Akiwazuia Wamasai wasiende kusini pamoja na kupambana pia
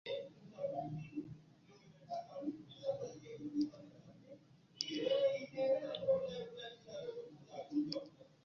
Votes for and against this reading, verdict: 1, 3, rejected